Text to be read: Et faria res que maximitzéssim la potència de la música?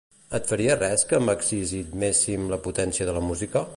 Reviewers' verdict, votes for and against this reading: rejected, 1, 2